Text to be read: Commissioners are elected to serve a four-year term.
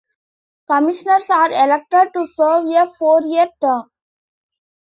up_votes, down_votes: 3, 2